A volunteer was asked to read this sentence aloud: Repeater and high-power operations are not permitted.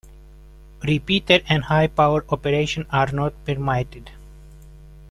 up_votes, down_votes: 0, 2